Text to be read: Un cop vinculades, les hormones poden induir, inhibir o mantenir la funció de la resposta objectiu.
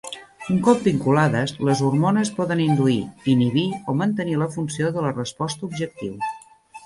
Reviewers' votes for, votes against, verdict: 3, 0, accepted